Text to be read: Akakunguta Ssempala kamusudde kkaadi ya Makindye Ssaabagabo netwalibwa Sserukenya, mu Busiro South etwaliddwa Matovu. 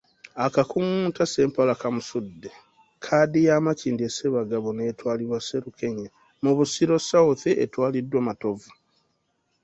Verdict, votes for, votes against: rejected, 1, 2